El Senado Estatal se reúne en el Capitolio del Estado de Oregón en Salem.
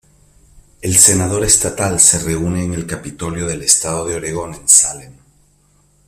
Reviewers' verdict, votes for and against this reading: rejected, 0, 2